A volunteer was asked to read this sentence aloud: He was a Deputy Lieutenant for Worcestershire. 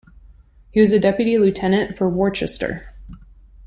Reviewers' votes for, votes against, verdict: 1, 2, rejected